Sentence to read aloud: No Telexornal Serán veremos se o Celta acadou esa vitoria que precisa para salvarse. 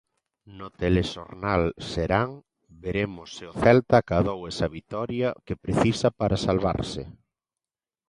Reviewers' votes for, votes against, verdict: 2, 0, accepted